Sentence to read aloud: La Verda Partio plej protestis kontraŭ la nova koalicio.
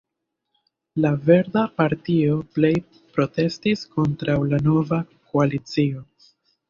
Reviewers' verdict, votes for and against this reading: accepted, 2, 0